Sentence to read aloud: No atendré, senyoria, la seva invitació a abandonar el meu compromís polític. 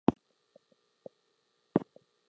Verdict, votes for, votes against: rejected, 0, 2